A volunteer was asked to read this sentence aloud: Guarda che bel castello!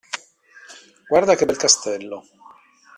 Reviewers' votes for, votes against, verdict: 2, 0, accepted